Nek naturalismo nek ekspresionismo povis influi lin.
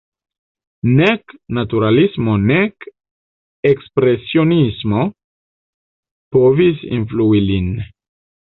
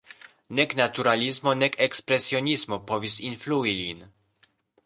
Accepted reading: second